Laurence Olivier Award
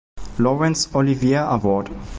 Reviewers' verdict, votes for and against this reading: rejected, 0, 2